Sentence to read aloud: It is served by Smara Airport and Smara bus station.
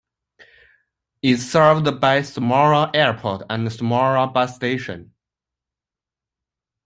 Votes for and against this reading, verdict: 2, 1, accepted